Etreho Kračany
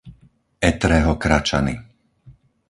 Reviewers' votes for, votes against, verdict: 4, 0, accepted